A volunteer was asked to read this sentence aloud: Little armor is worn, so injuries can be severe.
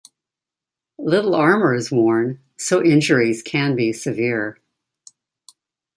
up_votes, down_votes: 2, 0